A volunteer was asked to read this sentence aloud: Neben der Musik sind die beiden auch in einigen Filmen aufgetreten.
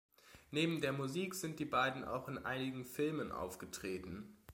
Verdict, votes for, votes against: accepted, 2, 0